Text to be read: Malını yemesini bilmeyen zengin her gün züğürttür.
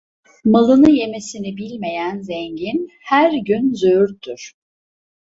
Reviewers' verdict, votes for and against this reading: accepted, 2, 0